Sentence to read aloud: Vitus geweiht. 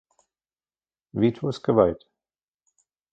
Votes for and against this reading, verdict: 1, 2, rejected